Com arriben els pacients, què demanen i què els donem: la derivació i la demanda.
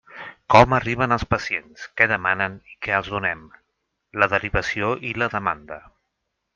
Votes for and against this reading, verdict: 6, 0, accepted